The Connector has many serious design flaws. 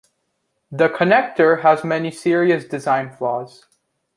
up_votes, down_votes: 2, 0